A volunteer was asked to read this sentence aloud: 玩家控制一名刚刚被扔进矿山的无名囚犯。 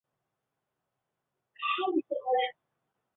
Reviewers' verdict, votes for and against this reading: rejected, 0, 2